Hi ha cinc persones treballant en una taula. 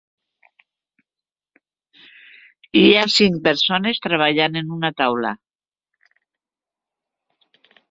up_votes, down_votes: 3, 0